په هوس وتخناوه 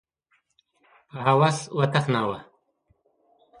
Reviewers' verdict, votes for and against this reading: accepted, 2, 0